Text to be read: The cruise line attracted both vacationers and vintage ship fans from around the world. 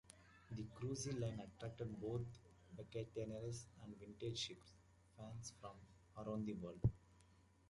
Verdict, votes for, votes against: rejected, 0, 2